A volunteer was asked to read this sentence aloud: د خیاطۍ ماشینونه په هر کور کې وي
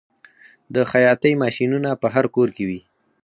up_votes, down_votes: 2, 4